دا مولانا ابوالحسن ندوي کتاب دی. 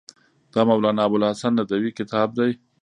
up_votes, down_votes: 0, 2